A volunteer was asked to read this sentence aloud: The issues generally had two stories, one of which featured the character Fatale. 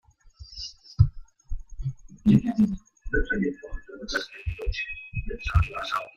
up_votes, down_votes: 0, 2